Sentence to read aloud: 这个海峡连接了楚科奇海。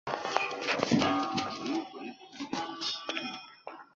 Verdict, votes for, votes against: rejected, 0, 2